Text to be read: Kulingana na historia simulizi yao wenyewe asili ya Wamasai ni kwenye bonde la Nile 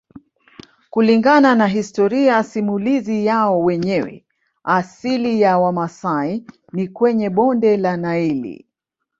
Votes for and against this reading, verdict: 0, 2, rejected